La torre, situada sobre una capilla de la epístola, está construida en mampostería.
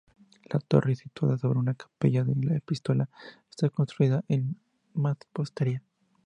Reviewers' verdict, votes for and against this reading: accepted, 2, 0